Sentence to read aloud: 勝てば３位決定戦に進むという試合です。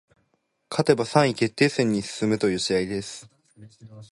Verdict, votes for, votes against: rejected, 0, 2